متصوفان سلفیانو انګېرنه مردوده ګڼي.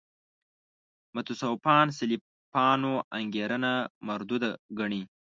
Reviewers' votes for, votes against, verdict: 1, 2, rejected